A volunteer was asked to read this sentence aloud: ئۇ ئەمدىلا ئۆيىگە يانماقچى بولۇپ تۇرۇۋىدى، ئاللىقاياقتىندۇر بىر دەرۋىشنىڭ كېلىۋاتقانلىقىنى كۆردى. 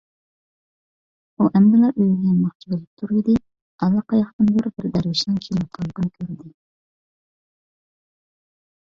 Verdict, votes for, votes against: rejected, 1, 2